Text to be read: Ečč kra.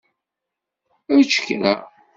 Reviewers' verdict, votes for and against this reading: accepted, 2, 0